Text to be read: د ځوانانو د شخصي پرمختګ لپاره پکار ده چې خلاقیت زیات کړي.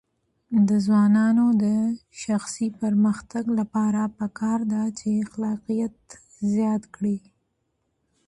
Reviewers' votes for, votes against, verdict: 1, 2, rejected